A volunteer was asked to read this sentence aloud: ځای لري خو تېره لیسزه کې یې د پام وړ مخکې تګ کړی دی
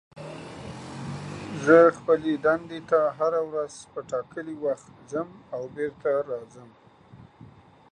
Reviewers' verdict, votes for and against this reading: rejected, 0, 2